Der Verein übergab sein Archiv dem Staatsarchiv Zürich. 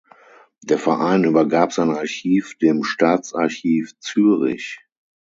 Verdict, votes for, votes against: accepted, 6, 0